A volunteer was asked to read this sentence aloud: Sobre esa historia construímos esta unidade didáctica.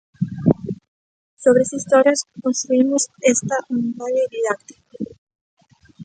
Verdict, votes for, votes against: rejected, 0, 2